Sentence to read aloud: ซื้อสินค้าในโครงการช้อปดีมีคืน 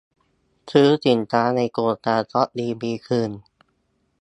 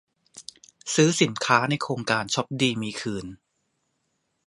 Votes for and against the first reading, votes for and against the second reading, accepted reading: 0, 2, 2, 0, second